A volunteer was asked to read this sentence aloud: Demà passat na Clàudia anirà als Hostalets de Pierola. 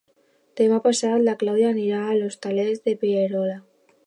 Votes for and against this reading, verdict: 0, 2, rejected